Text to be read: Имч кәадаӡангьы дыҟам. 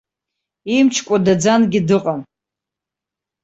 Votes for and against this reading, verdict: 1, 2, rejected